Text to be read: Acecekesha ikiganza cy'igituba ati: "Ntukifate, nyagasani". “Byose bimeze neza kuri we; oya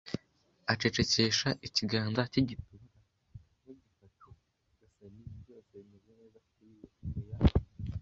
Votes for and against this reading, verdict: 0, 2, rejected